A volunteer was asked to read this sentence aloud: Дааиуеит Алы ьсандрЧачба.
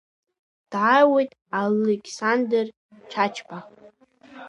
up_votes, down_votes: 1, 2